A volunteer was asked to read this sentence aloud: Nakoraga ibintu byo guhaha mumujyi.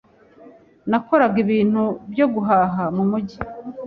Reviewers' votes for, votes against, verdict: 2, 0, accepted